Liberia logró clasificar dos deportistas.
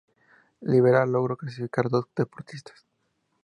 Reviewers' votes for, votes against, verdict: 0, 2, rejected